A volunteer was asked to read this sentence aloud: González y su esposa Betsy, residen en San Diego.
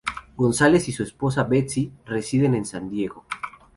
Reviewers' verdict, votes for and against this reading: accepted, 4, 0